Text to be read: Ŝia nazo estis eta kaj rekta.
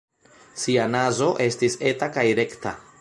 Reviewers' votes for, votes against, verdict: 0, 2, rejected